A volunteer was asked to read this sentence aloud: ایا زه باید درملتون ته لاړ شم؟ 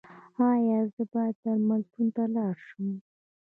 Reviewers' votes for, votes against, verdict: 2, 0, accepted